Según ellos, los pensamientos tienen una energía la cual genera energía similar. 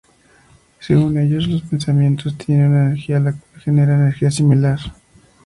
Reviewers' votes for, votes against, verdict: 2, 0, accepted